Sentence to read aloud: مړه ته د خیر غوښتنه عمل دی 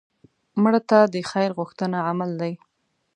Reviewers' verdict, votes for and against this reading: accepted, 2, 0